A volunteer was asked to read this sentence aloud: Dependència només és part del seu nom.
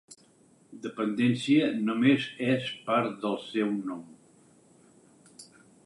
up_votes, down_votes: 6, 0